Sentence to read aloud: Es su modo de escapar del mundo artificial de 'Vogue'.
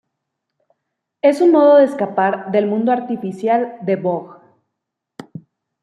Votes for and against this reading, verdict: 2, 0, accepted